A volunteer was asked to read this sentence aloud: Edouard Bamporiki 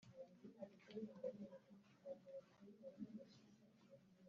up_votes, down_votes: 0, 2